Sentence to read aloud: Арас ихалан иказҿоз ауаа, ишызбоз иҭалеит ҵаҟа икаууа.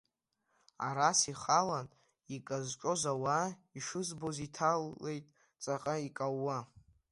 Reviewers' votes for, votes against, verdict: 0, 2, rejected